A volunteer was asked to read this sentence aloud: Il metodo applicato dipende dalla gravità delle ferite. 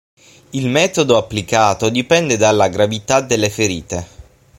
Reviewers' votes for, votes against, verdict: 6, 0, accepted